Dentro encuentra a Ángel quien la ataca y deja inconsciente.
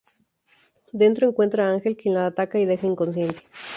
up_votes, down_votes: 2, 0